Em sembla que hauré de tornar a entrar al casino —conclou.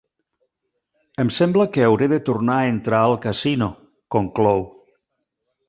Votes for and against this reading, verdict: 2, 0, accepted